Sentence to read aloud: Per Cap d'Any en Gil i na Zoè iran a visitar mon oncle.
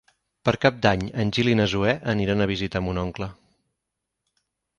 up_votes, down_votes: 2, 4